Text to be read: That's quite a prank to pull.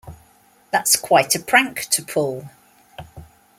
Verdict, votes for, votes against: accepted, 2, 0